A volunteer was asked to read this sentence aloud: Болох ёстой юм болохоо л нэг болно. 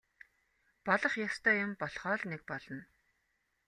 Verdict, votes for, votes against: accepted, 2, 0